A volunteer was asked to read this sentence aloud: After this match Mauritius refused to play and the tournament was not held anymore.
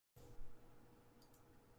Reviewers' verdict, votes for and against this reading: rejected, 0, 2